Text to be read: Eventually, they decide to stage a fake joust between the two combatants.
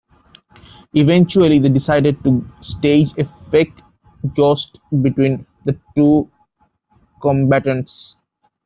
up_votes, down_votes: 1, 2